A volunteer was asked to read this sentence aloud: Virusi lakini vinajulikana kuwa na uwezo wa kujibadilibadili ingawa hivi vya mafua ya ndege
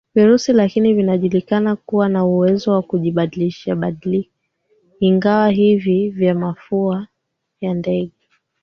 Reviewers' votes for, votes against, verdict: 0, 2, rejected